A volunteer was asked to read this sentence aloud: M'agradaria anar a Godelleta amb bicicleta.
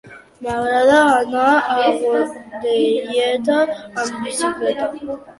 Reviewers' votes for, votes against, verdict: 0, 2, rejected